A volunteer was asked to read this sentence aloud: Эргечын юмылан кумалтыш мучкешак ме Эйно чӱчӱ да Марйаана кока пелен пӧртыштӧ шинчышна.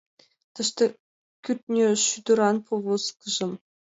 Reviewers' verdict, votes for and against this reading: rejected, 1, 2